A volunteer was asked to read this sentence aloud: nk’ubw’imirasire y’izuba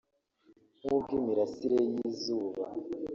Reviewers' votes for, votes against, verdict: 1, 2, rejected